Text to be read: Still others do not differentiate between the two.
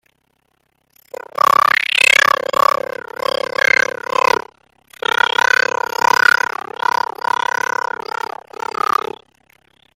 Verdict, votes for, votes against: rejected, 0, 2